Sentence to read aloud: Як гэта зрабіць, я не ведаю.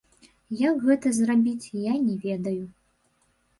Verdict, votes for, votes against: rejected, 1, 2